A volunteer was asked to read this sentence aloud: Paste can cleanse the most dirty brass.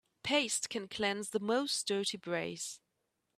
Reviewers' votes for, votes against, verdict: 0, 2, rejected